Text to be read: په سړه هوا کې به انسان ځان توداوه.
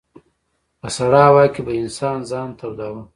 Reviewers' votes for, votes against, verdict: 2, 0, accepted